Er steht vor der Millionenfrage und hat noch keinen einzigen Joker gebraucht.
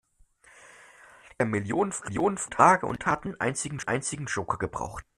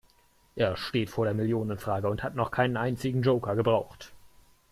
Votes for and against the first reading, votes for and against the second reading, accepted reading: 0, 2, 2, 0, second